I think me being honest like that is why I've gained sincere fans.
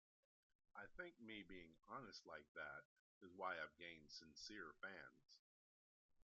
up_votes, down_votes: 2, 1